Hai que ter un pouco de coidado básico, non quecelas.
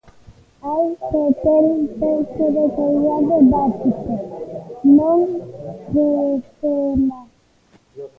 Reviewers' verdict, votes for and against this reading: rejected, 0, 2